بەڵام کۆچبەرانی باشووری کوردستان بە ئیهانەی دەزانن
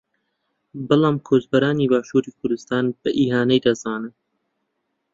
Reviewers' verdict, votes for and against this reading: accepted, 2, 0